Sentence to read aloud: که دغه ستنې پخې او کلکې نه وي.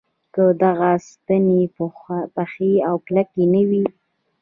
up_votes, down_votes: 2, 0